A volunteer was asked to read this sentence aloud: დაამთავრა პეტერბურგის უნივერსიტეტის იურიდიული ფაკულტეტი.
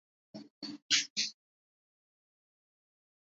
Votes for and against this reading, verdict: 0, 2, rejected